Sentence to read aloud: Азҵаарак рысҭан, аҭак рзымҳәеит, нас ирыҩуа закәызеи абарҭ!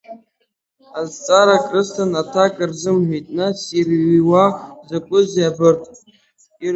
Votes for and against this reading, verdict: 1, 6, rejected